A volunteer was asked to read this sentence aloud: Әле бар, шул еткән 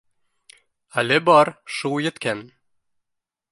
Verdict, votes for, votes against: accepted, 2, 1